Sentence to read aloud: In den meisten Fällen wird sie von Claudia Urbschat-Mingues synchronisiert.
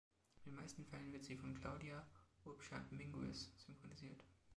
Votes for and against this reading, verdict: 1, 3, rejected